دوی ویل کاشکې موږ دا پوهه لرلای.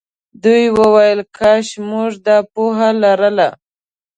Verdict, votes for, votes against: rejected, 0, 2